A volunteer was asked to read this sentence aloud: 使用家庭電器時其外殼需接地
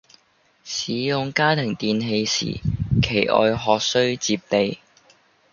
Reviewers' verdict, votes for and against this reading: rejected, 0, 2